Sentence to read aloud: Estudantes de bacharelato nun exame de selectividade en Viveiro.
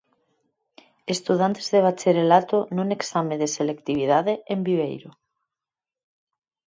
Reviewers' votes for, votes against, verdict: 2, 4, rejected